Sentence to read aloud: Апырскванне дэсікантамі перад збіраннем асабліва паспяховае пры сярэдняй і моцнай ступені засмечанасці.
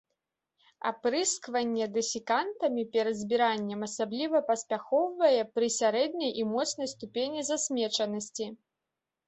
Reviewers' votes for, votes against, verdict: 1, 2, rejected